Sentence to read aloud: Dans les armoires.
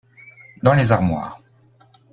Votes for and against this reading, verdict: 2, 0, accepted